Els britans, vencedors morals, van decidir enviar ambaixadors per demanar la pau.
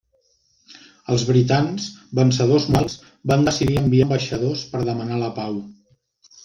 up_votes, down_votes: 1, 2